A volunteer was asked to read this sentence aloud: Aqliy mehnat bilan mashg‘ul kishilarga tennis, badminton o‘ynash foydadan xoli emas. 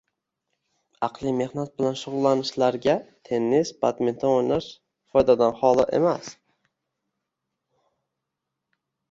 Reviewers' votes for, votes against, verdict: 1, 2, rejected